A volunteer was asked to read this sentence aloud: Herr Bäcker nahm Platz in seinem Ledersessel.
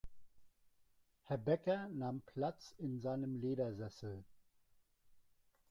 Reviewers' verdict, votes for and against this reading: rejected, 1, 2